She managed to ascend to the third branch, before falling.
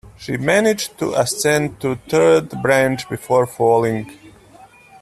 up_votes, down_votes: 1, 3